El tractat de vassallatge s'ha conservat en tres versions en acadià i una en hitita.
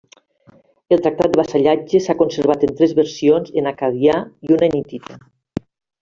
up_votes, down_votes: 0, 2